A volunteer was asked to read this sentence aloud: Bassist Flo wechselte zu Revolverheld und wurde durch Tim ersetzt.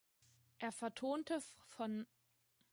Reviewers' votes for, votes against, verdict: 0, 2, rejected